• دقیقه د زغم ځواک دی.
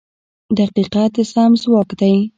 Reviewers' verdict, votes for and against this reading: accepted, 2, 0